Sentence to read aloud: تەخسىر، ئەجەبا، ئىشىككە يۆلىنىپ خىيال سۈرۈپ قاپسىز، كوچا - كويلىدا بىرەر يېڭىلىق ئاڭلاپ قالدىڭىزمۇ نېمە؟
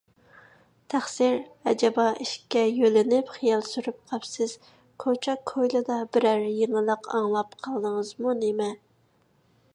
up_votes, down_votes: 2, 0